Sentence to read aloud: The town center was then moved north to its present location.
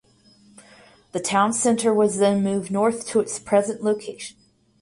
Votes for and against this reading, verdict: 4, 0, accepted